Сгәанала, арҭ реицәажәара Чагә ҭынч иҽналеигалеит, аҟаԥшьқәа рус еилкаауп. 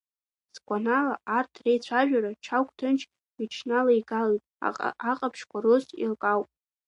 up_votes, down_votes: 0, 2